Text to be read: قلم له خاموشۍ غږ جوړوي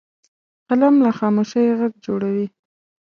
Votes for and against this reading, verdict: 2, 0, accepted